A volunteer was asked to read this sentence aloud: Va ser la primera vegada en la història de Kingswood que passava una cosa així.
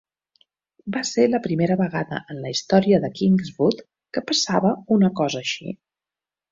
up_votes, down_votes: 2, 0